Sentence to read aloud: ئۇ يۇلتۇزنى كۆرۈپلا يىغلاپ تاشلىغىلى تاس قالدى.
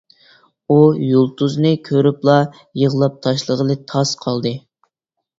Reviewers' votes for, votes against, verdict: 2, 0, accepted